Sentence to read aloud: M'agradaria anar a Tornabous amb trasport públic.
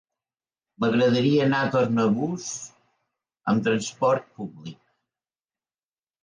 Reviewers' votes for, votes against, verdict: 0, 2, rejected